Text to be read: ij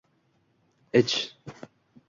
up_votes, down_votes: 2, 2